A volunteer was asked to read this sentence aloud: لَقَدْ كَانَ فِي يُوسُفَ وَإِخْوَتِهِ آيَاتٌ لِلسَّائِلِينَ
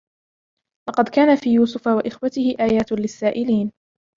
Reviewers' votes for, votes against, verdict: 2, 1, accepted